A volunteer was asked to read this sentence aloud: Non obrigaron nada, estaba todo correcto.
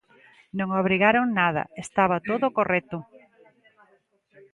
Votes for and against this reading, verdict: 2, 0, accepted